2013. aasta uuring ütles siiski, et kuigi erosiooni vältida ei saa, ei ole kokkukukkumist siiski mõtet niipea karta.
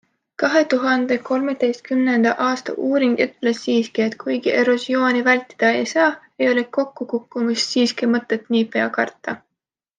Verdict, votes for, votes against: rejected, 0, 2